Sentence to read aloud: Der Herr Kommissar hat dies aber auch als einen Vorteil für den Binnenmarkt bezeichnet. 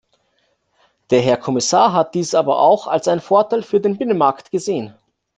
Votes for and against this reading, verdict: 0, 2, rejected